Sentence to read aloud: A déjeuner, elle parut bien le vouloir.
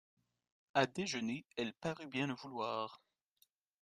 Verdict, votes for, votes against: accepted, 2, 0